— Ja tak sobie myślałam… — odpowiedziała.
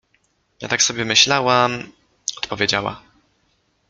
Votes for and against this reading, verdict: 2, 0, accepted